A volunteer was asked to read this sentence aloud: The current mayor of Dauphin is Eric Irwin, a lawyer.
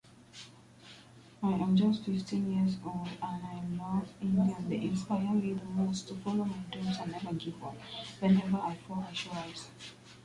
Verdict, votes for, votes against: rejected, 0, 2